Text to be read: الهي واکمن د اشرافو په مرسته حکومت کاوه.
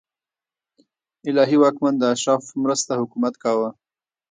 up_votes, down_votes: 1, 2